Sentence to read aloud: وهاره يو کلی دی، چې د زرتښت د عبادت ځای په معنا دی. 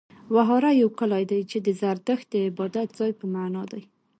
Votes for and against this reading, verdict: 2, 0, accepted